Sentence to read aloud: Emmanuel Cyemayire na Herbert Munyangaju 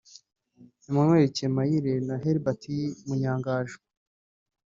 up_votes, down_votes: 0, 2